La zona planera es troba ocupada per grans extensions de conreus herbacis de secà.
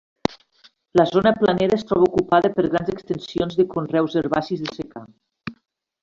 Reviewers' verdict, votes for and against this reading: accepted, 2, 0